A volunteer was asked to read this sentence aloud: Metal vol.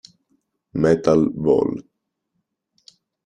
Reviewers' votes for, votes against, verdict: 2, 0, accepted